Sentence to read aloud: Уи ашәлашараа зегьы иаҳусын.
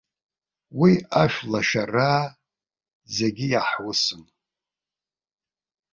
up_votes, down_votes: 2, 1